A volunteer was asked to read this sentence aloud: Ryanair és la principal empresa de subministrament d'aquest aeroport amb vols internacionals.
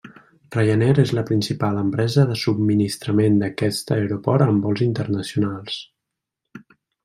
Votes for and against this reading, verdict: 2, 0, accepted